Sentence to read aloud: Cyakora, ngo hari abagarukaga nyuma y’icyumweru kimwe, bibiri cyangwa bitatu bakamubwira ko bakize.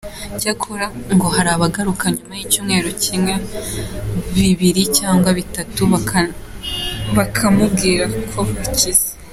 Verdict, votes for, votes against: rejected, 1, 2